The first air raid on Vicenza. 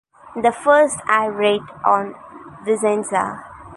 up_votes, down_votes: 0, 2